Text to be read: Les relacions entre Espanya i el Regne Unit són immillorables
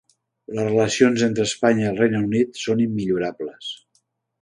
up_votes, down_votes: 3, 0